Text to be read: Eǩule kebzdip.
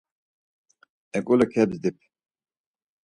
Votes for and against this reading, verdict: 4, 0, accepted